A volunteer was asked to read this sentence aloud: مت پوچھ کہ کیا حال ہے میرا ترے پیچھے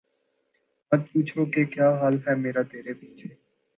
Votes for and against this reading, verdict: 8, 0, accepted